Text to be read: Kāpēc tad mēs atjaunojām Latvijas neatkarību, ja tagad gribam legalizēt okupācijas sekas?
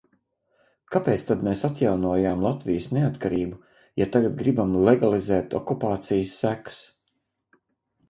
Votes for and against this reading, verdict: 4, 0, accepted